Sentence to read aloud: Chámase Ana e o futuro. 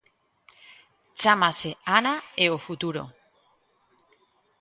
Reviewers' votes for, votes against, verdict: 2, 0, accepted